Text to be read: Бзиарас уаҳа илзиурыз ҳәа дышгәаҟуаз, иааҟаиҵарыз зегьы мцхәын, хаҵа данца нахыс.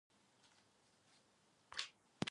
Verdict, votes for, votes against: rejected, 0, 2